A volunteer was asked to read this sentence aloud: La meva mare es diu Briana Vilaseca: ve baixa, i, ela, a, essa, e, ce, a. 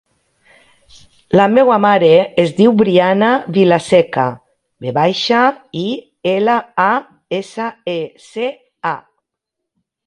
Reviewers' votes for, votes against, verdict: 1, 2, rejected